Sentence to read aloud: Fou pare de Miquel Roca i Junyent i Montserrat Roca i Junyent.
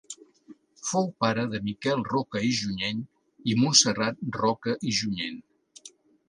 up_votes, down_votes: 2, 1